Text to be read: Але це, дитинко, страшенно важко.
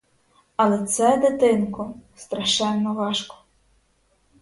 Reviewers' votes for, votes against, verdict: 2, 2, rejected